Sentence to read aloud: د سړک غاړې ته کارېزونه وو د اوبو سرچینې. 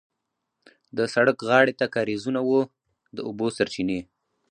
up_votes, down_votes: 2, 2